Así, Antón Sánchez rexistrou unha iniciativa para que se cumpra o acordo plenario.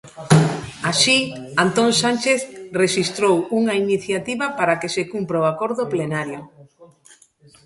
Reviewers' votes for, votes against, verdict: 2, 0, accepted